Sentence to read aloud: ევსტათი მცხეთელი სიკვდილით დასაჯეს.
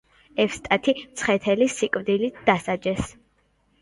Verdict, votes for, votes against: accepted, 2, 0